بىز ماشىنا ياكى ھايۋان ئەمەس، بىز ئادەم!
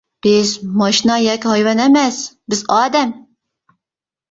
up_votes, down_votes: 2, 0